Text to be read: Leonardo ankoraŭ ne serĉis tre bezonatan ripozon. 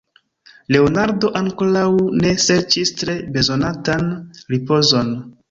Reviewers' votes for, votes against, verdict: 2, 0, accepted